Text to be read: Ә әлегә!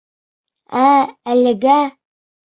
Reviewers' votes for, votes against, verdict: 2, 0, accepted